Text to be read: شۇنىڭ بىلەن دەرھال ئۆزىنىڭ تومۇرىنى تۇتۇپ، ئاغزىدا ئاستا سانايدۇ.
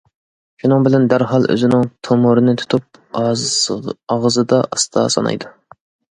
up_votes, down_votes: 2, 0